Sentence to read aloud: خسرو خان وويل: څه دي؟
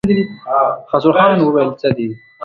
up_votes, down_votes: 0, 2